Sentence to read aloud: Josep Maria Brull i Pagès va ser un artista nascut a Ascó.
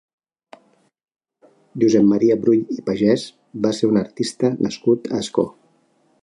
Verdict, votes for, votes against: accepted, 2, 0